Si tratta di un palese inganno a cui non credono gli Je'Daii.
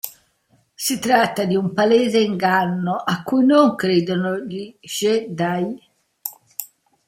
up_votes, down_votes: 0, 2